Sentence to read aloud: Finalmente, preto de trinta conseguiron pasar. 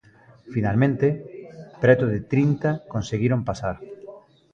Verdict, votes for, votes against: accepted, 3, 0